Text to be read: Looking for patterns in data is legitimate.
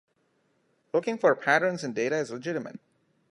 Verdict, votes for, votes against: accepted, 2, 0